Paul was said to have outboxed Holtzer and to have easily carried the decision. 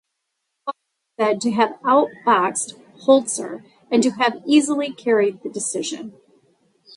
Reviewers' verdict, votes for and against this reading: rejected, 0, 2